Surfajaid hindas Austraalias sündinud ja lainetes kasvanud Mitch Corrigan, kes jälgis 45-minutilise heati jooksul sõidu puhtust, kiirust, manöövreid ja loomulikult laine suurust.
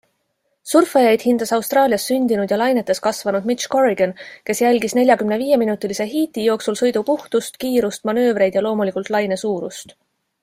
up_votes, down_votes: 0, 2